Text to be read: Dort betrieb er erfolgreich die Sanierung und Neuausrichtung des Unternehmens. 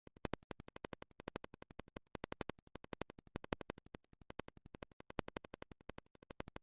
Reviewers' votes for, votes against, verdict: 0, 2, rejected